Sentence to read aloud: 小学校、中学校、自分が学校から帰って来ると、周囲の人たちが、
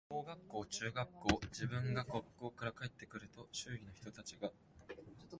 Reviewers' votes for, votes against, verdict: 1, 2, rejected